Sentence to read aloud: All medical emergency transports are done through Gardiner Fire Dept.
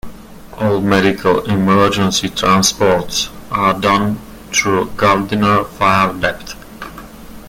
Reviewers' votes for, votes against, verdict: 2, 0, accepted